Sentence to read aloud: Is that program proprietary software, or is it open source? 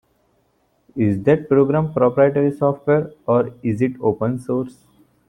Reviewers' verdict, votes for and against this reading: accepted, 2, 0